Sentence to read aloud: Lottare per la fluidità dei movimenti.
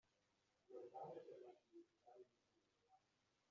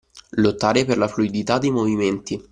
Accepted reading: second